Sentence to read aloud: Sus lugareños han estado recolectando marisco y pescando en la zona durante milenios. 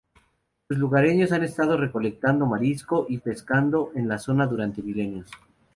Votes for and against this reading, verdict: 0, 2, rejected